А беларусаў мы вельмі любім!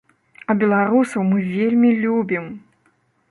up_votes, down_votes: 2, 0